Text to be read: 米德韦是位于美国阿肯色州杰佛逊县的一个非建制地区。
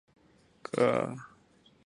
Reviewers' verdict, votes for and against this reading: rejected, 0, 3